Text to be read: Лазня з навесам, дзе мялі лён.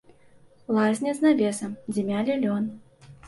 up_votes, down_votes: 2, 0